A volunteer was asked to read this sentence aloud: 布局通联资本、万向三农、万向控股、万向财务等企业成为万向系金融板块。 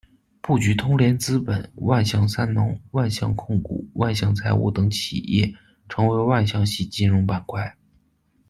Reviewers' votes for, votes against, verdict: 2, 0, accepted